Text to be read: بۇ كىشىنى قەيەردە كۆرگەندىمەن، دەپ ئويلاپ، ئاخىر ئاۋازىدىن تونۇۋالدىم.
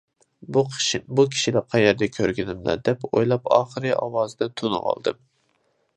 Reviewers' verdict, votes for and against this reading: rejected, 0, 2